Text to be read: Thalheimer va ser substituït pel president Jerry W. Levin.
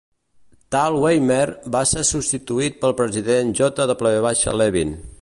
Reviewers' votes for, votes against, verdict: 1, 2, rejected